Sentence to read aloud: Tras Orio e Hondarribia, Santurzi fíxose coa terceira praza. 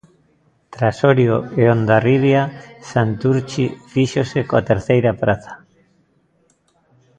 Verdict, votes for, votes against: rejected, 0, 2